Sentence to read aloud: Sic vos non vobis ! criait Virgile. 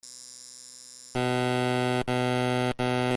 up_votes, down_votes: 0, 2